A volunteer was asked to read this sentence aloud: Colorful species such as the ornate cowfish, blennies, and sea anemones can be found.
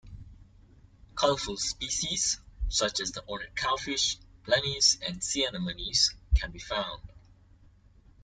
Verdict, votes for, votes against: accepted, 2, 0